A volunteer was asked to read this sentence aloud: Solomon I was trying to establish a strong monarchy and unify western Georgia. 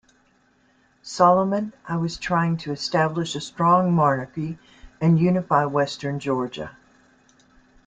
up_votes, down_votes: 0, 2